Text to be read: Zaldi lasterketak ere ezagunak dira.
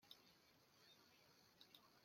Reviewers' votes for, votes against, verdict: 0, 2, rejected